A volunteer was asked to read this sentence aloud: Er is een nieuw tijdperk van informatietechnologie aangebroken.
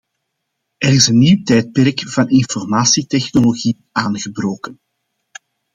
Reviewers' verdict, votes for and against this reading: accepted, 2, 0